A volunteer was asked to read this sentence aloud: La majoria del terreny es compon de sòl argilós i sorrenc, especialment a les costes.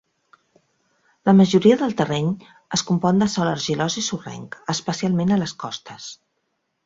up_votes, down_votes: 3, 0